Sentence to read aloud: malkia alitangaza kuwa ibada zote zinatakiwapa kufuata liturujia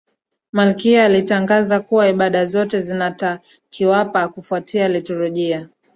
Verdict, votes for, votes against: accepted, 2, 0